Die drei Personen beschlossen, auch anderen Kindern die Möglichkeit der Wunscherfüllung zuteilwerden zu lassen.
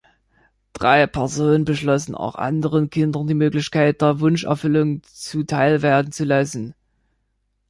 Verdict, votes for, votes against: rejected, 0, 3